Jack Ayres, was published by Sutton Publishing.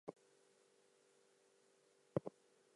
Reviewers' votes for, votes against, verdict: 0, 4, rejected